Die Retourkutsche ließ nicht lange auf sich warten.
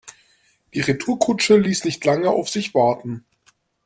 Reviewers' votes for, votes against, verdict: 2, 0, accepted